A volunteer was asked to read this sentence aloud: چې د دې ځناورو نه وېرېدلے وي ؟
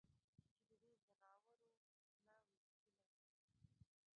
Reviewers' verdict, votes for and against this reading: rejected, 0, 2